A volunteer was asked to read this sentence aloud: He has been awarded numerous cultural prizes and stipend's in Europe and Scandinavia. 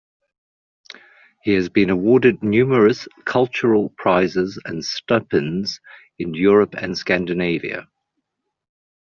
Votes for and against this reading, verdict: 1, 2, rejected